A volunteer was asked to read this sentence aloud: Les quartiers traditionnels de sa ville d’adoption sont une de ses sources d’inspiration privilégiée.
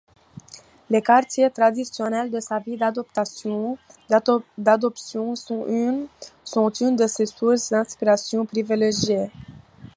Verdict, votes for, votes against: rejected, 0, 2